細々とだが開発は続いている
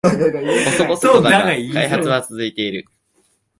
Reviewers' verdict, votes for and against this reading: rejected, 0, 2